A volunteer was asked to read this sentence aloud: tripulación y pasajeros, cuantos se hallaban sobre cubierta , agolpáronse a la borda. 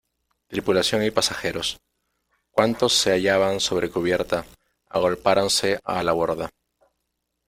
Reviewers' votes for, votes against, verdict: 1, 2, rejected